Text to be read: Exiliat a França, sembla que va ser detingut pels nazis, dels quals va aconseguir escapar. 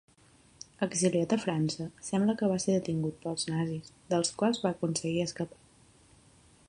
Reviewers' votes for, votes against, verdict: 3, 0, accepted